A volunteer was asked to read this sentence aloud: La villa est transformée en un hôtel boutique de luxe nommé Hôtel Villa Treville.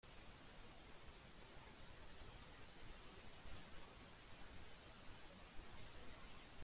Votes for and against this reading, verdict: 0, 2, rejected